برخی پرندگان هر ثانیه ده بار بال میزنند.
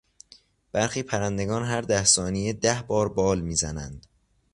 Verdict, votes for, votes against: rejected, 0, 2